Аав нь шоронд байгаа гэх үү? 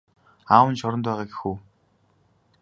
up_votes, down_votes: 2, 0